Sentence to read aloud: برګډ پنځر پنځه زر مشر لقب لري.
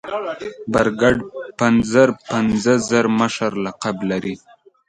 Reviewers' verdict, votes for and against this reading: accepted, 2, 0